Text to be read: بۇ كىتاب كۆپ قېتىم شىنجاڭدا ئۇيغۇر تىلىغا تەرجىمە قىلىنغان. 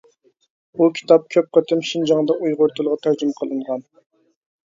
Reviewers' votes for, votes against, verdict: 2, 0, accepted